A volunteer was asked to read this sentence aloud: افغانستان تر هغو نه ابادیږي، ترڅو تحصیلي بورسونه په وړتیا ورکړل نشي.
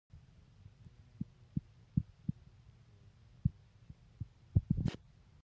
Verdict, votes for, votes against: rejected, 1, 2